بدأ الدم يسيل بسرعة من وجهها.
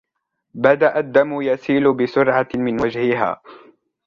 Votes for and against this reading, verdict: 2, 0, accepted